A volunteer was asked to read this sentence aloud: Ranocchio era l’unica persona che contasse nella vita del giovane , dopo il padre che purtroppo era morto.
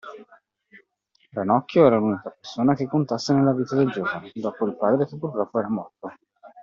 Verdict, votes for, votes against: accepted, 2, 1